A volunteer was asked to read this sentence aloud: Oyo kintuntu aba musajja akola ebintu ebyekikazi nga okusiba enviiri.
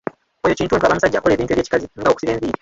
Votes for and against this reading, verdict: 1, 2, rejected